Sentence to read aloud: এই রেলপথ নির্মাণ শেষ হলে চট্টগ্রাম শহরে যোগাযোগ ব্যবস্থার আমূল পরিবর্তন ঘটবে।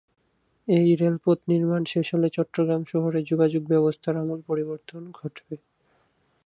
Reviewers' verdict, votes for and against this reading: rejected, 0, 2